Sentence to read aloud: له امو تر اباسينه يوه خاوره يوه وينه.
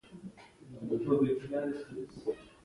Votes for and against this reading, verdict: 1, 2, rejected